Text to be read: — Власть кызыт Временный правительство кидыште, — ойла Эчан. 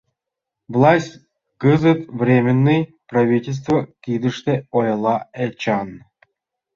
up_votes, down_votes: 2, 1